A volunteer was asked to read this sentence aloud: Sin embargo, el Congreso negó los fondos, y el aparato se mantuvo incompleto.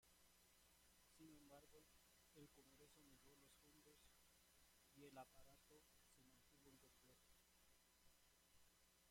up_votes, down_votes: 0, 2